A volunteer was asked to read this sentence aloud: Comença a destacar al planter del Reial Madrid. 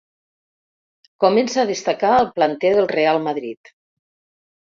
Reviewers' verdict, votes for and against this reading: rejected, 0, 2